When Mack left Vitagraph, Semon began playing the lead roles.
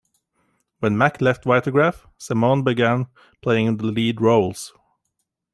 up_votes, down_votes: 2, 1